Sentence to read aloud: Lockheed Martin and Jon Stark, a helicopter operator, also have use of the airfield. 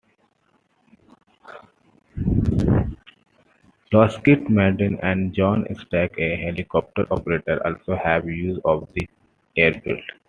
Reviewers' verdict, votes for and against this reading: accepted, 2, 0